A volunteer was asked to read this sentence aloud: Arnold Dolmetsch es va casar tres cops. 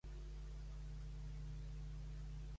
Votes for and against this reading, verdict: 0, 2, rejected